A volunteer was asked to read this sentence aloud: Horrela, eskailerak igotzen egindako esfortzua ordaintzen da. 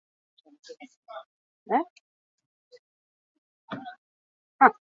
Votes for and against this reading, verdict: 0, 6, rejected